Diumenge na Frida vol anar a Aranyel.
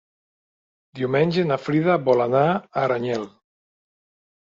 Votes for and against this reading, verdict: 1, 2, rejected